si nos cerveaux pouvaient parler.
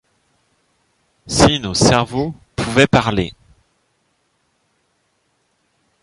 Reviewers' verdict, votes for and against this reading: rejected, 0, 2